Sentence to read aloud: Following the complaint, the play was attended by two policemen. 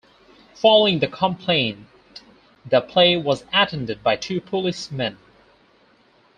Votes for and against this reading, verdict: 2, 2, rejected